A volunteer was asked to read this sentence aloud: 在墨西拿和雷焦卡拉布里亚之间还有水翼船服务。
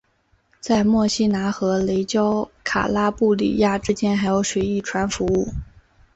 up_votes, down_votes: 8, 0